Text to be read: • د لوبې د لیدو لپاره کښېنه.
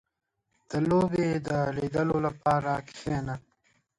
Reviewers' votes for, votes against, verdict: 0, 2, rejected